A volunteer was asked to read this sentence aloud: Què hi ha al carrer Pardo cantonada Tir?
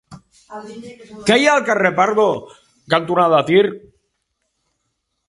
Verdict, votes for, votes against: rejected, 2, 3